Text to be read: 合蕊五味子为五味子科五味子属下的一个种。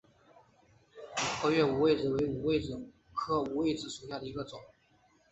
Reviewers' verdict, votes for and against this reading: accepted, 2, 1